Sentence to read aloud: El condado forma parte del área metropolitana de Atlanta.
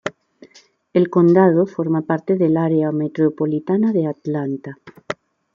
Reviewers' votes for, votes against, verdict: 2, 0, accepted